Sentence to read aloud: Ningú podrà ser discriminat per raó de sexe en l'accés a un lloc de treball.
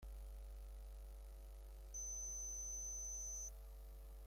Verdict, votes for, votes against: rejected, 0, 2